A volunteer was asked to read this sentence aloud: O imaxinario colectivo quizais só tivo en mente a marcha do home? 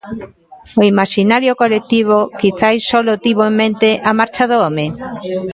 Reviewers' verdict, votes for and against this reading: rejected, 0, 2